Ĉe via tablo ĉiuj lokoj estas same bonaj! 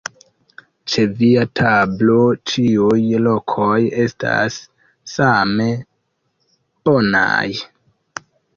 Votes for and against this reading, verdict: 0, 2, rejected